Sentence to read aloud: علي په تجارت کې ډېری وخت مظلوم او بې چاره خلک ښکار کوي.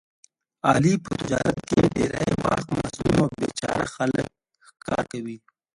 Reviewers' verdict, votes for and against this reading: rejected, 0, 2